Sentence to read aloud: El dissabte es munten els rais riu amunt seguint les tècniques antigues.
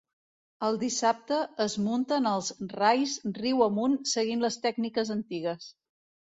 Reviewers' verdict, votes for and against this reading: accepted, 2, 0